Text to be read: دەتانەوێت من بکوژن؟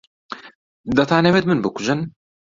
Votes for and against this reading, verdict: 2, 0, accepted